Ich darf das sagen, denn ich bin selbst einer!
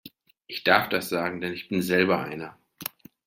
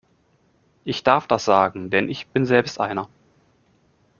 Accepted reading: second